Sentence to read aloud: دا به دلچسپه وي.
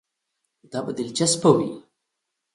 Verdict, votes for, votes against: accepted, 2, 0